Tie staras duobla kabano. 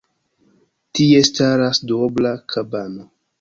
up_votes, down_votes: 2, 0